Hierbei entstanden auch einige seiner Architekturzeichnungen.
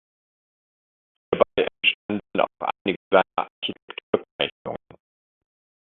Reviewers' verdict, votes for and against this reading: rejected, 0, 2